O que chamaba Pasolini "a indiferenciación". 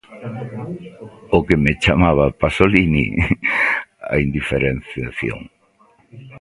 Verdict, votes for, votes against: rejected, 0, 2